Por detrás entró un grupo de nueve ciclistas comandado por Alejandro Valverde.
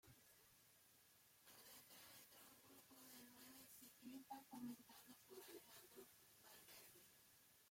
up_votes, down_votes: 0, 2